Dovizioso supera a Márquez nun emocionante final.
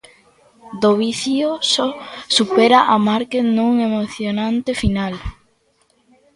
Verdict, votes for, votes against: rejected, 1, 2